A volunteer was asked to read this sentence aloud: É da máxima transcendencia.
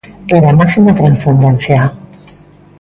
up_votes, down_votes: 2, 1